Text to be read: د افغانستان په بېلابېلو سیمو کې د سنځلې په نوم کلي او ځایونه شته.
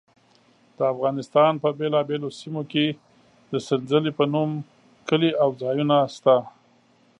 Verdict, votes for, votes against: accepted, 2, 0